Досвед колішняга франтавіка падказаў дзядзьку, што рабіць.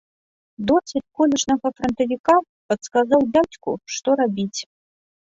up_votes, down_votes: 0, 2